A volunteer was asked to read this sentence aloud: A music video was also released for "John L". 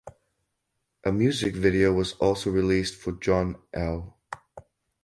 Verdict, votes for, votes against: rejected, 2, 2